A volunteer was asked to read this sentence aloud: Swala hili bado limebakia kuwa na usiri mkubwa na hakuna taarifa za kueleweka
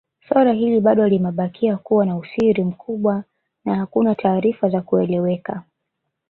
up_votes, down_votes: 1, 2